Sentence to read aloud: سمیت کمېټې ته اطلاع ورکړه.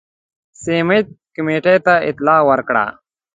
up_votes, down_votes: 3, 0